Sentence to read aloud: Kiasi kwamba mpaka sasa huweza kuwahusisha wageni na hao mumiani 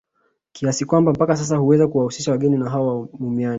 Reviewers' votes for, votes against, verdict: 0, 2, rejected